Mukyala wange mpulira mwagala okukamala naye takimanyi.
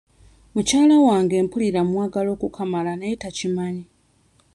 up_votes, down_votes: 2, 0